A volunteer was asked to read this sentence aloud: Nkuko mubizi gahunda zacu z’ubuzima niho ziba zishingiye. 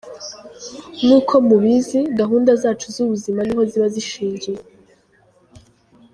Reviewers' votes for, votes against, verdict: 0, 2, rejected